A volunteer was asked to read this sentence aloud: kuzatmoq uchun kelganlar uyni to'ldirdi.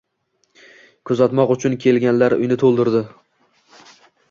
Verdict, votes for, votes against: rejected, 1, 2